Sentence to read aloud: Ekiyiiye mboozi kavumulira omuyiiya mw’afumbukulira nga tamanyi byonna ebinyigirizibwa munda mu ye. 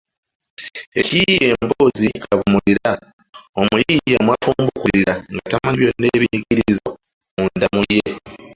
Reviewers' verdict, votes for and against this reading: rejected, 1, 2